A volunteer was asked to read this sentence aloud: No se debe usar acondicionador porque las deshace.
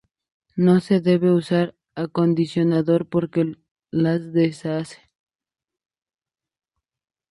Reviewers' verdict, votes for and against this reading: accepted, 4, 0